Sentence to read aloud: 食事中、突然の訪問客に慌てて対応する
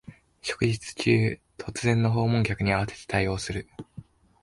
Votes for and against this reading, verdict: 2, 3, rejected